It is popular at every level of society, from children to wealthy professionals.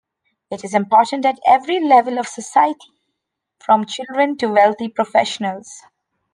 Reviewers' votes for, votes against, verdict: 0, 2, rejected